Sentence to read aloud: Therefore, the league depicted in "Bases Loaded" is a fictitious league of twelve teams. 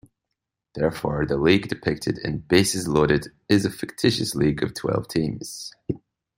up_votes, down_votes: 2, 0